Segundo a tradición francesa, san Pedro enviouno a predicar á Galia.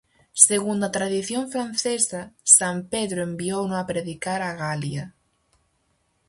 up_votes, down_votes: 4, 0